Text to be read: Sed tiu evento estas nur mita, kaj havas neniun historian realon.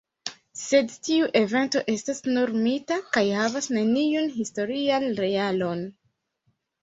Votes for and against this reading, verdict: 2, 1, accepted